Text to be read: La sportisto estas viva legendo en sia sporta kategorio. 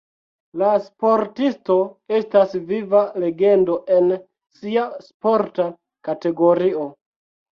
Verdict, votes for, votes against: rejected, 0, 2